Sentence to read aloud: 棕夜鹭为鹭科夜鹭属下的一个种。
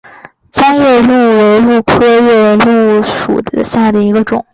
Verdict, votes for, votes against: accepted, 2, 1